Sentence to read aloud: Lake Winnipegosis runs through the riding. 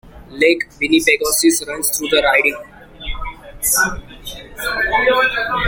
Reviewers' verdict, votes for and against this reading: rejected, 1, 2